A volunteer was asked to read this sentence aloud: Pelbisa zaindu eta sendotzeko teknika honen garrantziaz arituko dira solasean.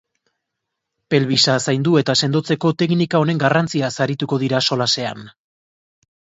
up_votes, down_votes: 2, 0